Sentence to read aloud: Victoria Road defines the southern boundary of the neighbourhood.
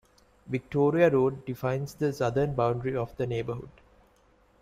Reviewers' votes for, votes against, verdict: 2, 0, accepted